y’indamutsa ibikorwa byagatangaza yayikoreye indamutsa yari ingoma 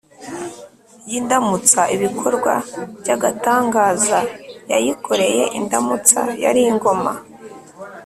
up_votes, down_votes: 2, 0